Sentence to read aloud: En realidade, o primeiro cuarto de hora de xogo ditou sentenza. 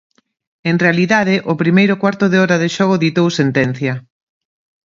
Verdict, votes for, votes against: rejected, 0, 2